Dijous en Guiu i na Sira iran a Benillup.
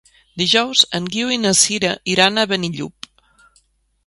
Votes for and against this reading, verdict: 2, 0, accepted